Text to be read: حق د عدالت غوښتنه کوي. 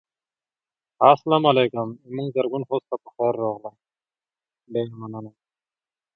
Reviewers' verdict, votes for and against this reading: rejected, 0, 2